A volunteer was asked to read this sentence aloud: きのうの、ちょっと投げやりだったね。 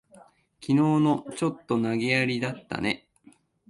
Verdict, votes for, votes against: accepted, 3, 0